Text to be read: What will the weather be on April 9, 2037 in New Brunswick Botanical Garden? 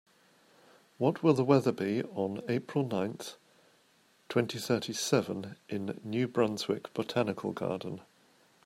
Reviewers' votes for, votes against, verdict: 0, 2, rejected